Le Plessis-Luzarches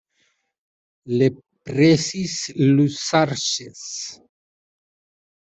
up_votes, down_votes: 2, 0